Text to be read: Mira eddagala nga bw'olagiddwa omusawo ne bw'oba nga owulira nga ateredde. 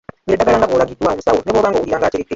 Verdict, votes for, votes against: rejected, 0, 2